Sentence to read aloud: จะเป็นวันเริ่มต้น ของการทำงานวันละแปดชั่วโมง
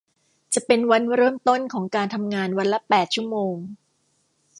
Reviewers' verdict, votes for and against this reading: accepted, 2, 0